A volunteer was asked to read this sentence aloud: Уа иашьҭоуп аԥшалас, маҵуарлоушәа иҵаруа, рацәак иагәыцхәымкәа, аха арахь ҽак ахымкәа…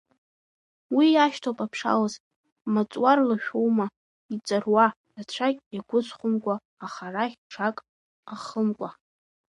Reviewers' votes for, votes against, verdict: 1, 2, rejected